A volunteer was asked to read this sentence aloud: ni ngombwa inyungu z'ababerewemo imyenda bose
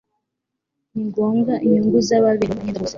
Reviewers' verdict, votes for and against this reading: accepted, 2, 1